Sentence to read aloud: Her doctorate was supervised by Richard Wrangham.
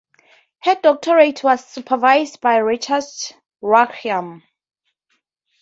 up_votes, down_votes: 0, 4